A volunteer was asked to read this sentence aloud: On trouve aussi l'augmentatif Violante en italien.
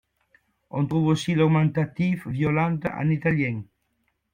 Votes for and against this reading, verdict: 2, 0, accepted